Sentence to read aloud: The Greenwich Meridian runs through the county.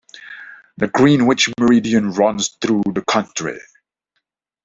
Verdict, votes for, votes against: accepted, 2, 1